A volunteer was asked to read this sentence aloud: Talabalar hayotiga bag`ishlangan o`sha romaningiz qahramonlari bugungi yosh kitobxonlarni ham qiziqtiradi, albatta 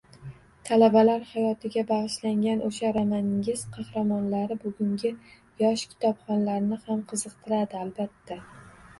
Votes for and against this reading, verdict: 0, 2, rejected